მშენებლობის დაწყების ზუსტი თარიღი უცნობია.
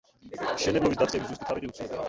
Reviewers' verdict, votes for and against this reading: rejected, 0, 2